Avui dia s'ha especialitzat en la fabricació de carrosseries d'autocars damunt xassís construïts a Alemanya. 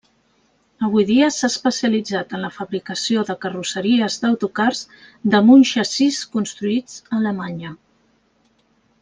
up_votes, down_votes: 2, 1